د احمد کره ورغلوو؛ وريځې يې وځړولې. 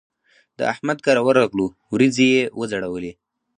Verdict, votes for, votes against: accepted, 2, 0